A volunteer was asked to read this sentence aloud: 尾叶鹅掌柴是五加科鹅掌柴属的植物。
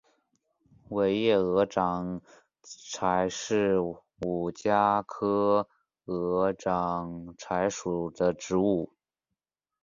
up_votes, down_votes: 3, 0